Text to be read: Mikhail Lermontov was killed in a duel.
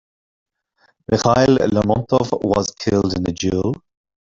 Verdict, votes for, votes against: rejected, 0, 2